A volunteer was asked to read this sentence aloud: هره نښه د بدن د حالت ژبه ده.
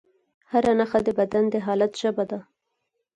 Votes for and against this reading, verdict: 4, 2, accepted